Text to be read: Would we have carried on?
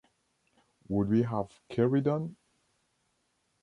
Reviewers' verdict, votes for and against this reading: accepted, 3, 0